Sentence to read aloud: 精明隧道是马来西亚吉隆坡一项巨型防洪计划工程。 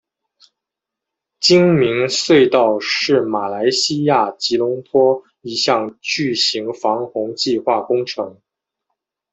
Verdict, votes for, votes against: accepted, 2, 0